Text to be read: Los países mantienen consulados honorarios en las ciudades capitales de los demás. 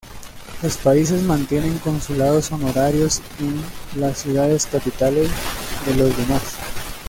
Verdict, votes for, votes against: accepted, 2, 0